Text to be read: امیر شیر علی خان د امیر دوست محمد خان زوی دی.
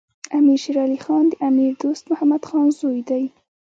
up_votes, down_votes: 2, 1